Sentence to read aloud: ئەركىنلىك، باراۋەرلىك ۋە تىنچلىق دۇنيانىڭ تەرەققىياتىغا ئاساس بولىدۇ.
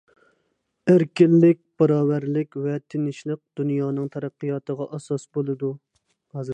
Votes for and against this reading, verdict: 0, 2, rejected